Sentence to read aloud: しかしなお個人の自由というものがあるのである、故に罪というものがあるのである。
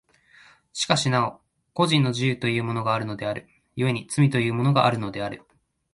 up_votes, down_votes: 2, 0